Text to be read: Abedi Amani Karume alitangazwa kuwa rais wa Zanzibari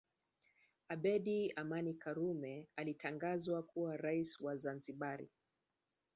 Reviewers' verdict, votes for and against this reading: accepted, 2, 0